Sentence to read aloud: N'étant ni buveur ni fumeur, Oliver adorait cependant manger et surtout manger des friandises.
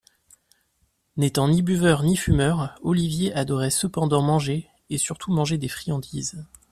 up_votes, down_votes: 0, 2